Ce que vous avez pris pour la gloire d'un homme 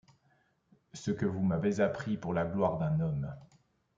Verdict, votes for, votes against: rejected, 1, 2